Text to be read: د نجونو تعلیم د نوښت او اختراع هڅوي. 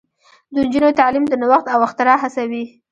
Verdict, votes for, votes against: rejected, 0, 2